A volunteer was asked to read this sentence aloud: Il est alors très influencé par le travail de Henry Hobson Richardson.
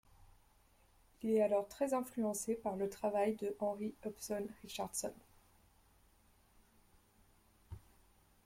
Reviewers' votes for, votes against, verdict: 2, 0, accepted